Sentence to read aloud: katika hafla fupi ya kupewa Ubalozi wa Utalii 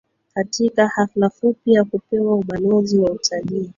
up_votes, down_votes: 1, 2